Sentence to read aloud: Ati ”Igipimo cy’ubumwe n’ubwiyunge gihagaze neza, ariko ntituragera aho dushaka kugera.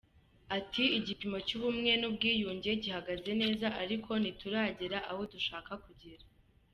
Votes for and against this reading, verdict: 2, 0, accepted